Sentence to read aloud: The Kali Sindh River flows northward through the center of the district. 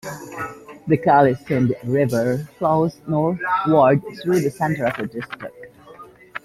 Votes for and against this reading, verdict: 1, 2, rejected